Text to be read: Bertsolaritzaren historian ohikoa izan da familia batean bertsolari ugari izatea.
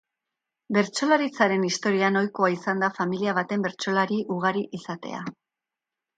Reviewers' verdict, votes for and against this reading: rejected, 0, 2